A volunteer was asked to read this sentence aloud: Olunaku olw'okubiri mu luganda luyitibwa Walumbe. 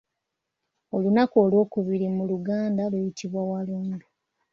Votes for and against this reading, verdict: 2, 0, accepted